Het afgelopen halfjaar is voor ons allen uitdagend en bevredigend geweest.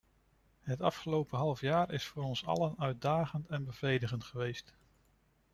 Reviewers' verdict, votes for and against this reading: accepted, 2, 0